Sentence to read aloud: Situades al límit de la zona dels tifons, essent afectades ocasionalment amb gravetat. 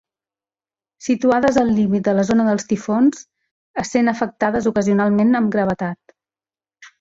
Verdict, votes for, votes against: rejected, 1, 2